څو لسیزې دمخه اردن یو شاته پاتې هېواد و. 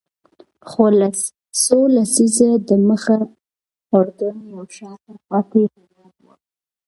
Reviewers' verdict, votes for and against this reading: rejected, 1, 2